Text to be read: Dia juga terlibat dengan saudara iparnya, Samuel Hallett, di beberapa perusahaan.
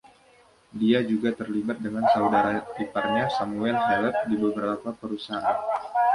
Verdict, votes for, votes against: accepted, 2, 0